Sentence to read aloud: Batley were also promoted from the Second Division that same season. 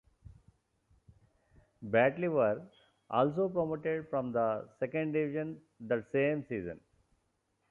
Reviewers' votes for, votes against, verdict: 2, 0, accepted